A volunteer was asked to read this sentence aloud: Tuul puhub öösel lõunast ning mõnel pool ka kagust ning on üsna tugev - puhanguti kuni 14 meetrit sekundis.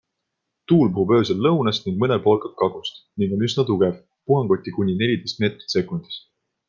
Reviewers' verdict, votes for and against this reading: rejected, 0, 2